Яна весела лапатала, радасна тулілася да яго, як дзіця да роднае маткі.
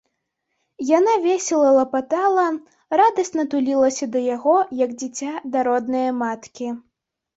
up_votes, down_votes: 2, 0